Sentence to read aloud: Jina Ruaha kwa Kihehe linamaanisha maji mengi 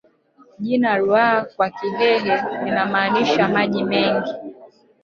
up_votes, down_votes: 1, 2